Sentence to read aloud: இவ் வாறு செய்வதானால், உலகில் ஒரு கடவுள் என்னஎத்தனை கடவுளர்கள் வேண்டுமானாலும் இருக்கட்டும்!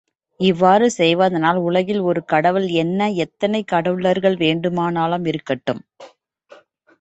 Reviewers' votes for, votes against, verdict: 2, 0, accepted